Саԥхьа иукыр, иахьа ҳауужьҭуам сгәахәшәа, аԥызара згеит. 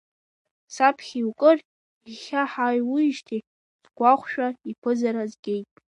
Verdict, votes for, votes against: rejected, 0, 2